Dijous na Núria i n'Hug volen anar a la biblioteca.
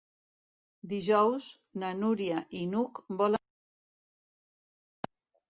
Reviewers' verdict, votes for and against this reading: rejected, 0, 2